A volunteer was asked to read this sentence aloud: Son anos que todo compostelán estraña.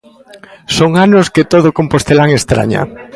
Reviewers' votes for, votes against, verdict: 2, 0, accepted